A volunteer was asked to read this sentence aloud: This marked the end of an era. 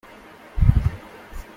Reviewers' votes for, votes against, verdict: 0, 2, rejected